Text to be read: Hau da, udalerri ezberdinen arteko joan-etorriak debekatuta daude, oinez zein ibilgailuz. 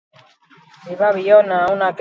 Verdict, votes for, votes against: rejected, 0, 4